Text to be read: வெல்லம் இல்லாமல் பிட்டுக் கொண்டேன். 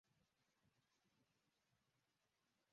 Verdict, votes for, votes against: rejected, 0, 2